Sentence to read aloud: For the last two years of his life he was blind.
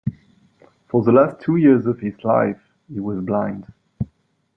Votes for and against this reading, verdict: 1, 2, rejected